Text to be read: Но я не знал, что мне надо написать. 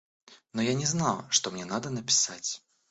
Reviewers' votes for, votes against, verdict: 2, 0, accepted